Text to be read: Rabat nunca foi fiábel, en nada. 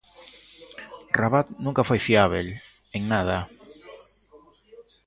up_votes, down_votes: 0, 2